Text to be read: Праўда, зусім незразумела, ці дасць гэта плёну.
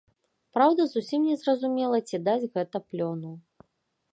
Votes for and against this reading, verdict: 2, 0, accepted